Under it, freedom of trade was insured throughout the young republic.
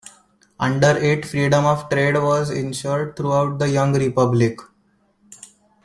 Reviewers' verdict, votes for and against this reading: accepted, 2, 0